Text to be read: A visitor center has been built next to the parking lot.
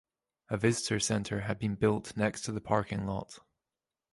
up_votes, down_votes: 0, 2